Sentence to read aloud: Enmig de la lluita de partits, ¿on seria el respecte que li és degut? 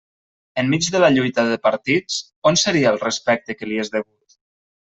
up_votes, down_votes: 1, 2